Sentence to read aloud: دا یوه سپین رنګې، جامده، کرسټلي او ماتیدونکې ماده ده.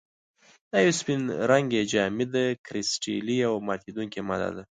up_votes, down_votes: 2, 0